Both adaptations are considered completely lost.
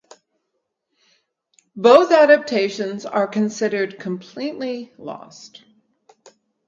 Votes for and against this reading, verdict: 4, 0, accepted